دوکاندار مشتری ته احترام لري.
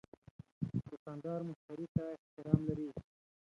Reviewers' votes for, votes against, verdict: 0, 2, rejected